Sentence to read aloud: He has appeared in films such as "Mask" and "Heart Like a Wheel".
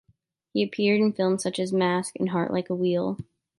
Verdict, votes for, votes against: rejected, 1, 2